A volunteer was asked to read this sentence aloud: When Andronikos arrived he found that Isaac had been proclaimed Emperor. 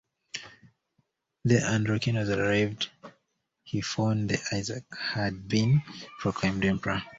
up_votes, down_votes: 0, 2